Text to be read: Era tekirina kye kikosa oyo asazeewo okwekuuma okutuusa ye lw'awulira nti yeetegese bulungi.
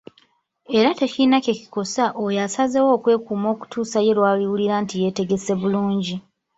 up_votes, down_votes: 3, 2